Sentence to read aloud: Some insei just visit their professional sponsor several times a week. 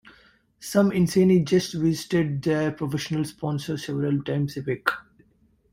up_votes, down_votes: 0, 2